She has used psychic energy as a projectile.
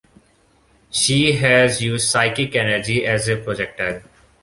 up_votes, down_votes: 2, 1